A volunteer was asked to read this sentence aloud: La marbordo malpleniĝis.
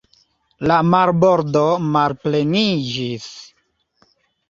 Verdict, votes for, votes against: accepted, 2, 1